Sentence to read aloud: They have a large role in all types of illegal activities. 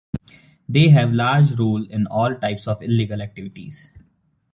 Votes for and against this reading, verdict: 0, 2, rejected